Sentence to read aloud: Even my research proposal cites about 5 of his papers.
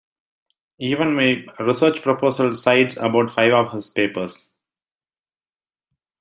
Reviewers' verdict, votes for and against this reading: rejected, 0, 2